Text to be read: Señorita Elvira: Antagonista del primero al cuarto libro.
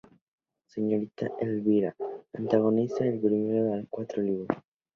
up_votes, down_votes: 0, 2